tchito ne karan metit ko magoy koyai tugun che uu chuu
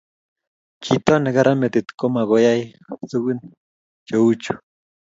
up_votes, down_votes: 2, 0